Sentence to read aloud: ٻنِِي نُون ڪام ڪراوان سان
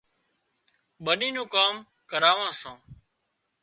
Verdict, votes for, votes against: accepted, 2, 0